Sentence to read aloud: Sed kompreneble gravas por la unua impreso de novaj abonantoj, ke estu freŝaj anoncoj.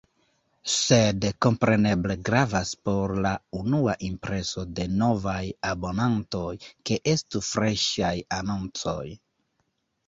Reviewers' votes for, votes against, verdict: 1, 2, rejected